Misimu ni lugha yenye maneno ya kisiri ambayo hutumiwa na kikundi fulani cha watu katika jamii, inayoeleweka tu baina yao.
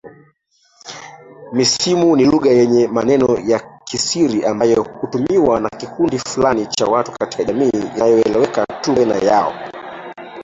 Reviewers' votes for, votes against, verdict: 0, 2, rejected